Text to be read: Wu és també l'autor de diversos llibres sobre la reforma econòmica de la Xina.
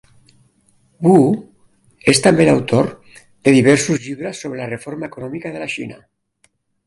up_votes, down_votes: 2, 0